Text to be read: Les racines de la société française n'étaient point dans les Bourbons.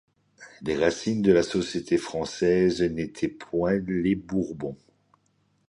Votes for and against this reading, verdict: 1, 2, rejected